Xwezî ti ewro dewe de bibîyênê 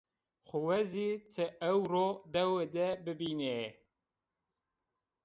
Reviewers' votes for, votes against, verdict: 1, 2, rejected